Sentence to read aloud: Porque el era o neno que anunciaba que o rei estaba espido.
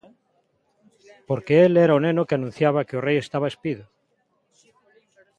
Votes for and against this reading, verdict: 2, 0, accepted